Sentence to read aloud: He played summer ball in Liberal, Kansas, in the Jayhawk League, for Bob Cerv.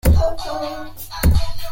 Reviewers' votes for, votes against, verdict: 0, 2, rejected